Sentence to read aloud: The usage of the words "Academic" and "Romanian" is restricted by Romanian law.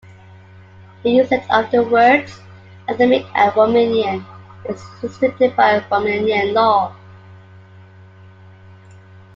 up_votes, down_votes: 0, 2